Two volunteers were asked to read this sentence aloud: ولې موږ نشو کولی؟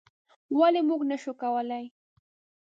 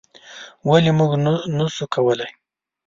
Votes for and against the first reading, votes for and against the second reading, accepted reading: 2, 0, 1, 2, first